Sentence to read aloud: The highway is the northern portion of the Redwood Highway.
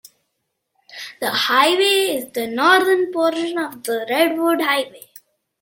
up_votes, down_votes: 2, 0